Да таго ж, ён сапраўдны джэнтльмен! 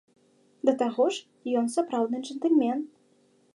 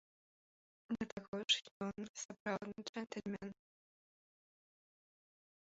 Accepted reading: first